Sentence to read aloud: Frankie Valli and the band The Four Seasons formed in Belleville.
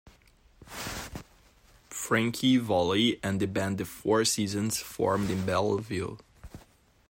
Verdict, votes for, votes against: accepted, 2, 0